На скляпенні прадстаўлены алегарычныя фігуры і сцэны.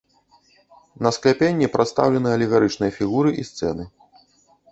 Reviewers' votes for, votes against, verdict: 1, 2, rejected